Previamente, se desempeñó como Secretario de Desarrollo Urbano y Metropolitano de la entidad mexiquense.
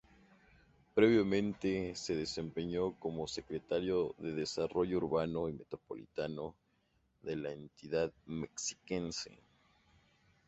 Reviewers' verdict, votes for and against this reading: accepted, 2, 0